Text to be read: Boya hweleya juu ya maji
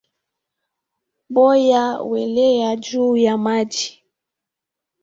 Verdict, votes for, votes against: accepted, 2, 0